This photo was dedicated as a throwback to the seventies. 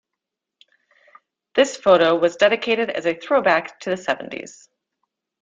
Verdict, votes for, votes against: accepted, 2, 0